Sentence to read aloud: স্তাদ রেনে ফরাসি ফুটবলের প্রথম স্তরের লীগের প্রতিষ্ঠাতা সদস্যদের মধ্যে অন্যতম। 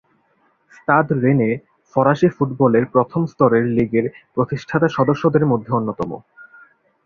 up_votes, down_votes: 4, 0